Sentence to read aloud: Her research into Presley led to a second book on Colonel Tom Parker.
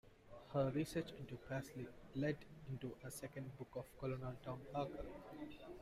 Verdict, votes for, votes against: rejected, 1, 2